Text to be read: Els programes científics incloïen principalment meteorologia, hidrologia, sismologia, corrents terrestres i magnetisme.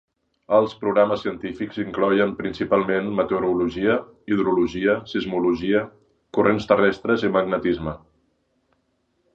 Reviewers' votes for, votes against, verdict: 2, 0, accepted